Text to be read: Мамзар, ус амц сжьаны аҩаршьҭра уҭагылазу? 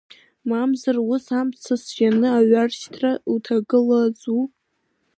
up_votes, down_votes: 0, 2